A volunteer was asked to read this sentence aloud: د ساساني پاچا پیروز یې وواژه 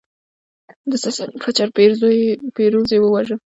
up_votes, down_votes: 1, 2